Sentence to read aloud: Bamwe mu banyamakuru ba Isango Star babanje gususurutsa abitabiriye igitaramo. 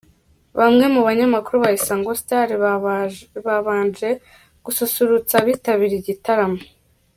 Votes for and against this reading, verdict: 1, 2, rejected